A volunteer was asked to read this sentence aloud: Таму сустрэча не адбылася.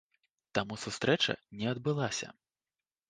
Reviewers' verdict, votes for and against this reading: accepted, 2, 0